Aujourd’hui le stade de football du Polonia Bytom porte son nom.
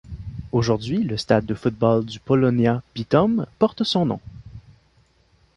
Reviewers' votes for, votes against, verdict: 2, 0, accepted